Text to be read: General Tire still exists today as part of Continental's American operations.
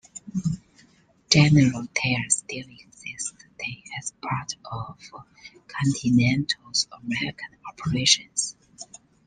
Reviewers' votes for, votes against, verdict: 2, 1, accepted